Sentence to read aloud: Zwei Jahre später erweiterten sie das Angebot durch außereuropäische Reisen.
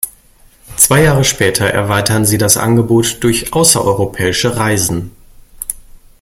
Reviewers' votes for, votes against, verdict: 0, 2, rejected